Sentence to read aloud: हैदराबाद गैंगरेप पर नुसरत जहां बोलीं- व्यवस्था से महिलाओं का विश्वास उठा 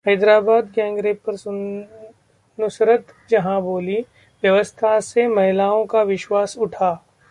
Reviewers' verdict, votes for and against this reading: rejected, 0, 2